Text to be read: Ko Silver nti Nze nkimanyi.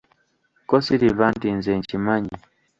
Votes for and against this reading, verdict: 1, 2, rejected